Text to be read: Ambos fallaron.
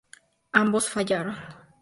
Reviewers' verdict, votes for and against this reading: accepted, 6, 0